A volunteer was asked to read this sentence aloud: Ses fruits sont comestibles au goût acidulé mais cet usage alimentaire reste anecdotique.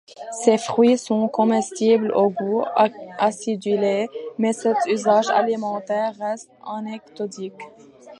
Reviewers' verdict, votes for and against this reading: rejected, 1, 2